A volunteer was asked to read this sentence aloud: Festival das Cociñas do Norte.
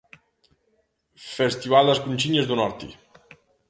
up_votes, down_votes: 1, 2